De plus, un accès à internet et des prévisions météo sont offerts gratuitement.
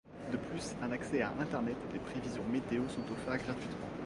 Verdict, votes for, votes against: rejected, 1, 2